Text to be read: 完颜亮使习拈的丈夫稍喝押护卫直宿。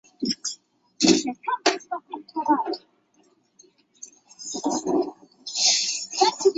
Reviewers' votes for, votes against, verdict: 0, 2, rejected